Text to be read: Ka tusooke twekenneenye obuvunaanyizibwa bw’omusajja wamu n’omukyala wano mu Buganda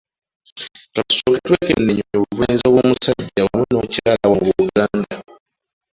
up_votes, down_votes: 2, 1